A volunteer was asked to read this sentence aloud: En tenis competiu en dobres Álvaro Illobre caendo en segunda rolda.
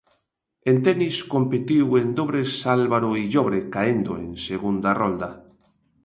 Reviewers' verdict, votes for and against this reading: accepted, 2, 0